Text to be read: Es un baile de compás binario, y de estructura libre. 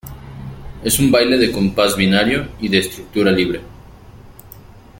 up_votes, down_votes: 2, 1